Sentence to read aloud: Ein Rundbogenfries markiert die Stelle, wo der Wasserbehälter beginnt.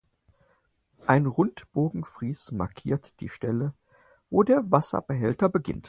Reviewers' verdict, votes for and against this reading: accepted, 4, 0